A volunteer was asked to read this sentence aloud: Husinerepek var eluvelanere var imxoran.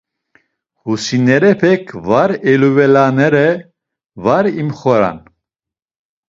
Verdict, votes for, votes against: accepted, 2, 1